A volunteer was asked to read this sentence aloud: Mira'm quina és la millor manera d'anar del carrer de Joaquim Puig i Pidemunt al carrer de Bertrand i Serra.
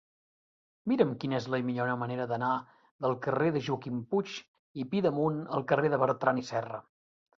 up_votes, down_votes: 0, 2